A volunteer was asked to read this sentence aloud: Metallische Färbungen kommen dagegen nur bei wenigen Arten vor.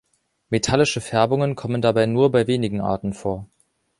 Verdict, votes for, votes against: rejected, 0, 2